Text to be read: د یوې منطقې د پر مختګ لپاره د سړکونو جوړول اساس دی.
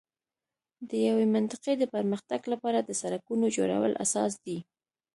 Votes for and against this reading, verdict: 2, 0, accepted